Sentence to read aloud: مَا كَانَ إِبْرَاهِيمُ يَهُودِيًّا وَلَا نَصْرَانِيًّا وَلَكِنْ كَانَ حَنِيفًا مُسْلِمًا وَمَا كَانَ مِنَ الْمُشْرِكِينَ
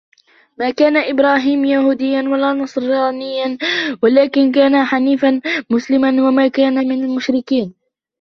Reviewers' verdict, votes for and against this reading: rejected, 0, 2